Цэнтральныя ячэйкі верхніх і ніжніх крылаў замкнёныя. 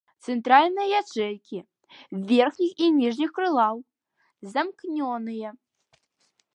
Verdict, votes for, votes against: rejected, 0, 2